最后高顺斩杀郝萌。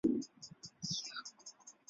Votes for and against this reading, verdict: 0, 3, rejected